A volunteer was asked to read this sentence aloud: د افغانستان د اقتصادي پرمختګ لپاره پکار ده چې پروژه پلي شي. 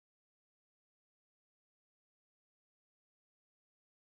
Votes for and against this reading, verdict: 2, 0, accepted